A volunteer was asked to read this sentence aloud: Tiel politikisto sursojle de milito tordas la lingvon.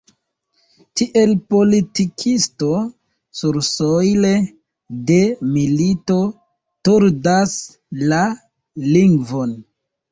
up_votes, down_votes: 2, 0